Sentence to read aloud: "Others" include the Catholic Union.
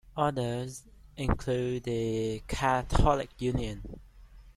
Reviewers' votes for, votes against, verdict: 1, 2, rejected